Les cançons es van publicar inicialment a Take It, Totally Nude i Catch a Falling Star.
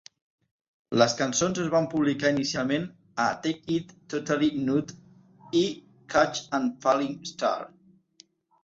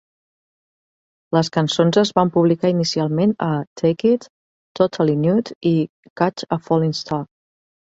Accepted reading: second